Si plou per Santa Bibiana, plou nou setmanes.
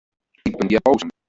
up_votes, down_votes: 0, 2